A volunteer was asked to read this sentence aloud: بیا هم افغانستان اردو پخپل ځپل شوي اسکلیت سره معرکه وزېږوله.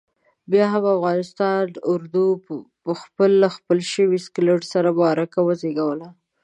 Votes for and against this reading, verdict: 1, 2, rejected